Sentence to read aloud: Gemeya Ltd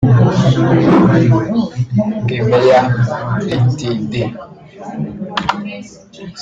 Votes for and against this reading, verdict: 1, 2, rejected